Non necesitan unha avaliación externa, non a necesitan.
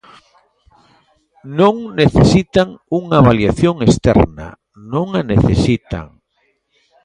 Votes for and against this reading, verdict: 1, 2, rejected